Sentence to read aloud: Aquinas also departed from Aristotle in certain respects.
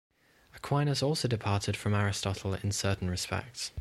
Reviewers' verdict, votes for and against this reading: accepted, 2, 0